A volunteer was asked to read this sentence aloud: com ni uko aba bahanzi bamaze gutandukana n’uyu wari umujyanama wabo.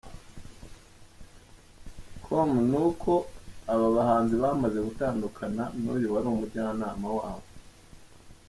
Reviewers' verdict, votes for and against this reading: accepted, 2, 0